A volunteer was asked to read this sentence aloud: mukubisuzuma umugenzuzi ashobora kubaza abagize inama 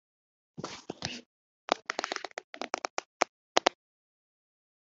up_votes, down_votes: 1, 2